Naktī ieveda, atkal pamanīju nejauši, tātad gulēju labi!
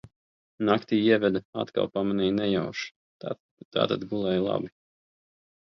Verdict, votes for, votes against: rejected, 0, 2